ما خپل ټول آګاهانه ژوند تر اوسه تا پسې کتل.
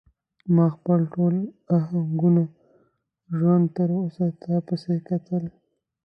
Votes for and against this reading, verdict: 1, 2, rejected